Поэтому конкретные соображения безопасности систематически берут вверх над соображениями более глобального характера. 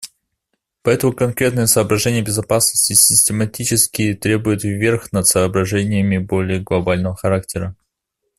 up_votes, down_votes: 0, 2